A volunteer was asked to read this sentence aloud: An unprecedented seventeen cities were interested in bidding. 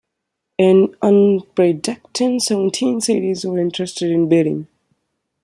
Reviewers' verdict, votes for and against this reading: rejected, 0, 2